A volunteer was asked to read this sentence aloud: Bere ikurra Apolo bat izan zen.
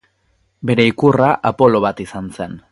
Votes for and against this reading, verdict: 4, 0, accepted